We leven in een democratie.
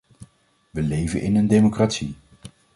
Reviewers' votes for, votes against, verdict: 2, 0, accepted